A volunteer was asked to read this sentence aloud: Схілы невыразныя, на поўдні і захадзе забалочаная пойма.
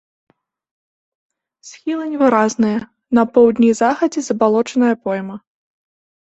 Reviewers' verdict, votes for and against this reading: accepted, 2, 0